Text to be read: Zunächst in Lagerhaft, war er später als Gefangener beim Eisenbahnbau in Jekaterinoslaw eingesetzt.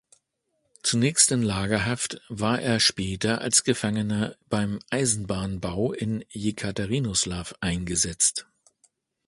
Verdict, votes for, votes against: accepted, 2, 0